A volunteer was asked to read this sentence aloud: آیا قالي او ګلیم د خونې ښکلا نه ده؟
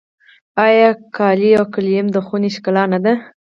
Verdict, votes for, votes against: accepted, 4, 0